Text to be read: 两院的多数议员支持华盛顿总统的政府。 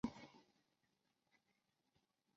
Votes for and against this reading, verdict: 0, 2, rejected